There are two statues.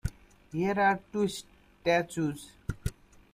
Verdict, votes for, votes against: rejected, 1, 2